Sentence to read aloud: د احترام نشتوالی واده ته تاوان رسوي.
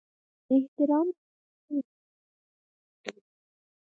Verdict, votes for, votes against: rejected, 0, 4